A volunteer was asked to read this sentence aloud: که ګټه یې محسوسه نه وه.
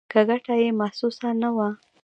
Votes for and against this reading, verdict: 2, 1, accepted